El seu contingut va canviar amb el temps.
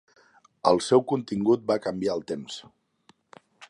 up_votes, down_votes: 1, 2